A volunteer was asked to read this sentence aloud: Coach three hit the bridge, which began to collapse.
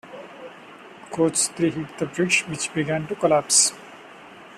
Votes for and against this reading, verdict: 2, 0, accepted